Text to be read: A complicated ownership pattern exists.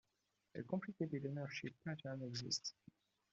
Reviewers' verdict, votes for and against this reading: rejected, 1, 2